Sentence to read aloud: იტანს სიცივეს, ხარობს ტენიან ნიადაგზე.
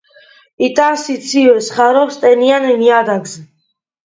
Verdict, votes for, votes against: accepted, 2, 0